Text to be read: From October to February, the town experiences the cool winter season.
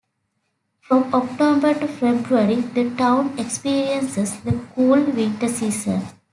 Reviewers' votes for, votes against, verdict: 2, 0, accepted